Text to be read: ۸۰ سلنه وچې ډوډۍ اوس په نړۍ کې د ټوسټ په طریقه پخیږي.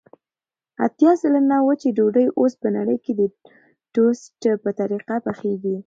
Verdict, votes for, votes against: rejected, 0, 2